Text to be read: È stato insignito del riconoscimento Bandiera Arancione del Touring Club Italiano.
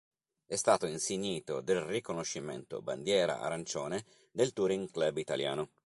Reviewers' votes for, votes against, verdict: 2, 0, accepted